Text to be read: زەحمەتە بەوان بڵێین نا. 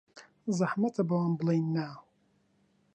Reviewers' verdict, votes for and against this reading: accepted, 2, 0